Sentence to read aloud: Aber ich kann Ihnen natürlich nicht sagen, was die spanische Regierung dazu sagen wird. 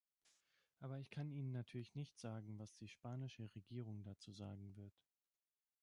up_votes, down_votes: 1, 2